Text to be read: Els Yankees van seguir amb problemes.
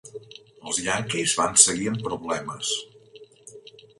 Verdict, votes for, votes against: rejected, 0, 2